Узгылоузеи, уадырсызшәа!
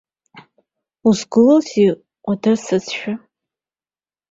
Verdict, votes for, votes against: accepted, 2, 0